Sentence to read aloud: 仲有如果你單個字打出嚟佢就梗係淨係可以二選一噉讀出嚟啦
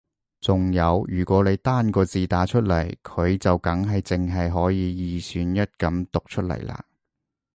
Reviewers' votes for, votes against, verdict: 2, 0, accepted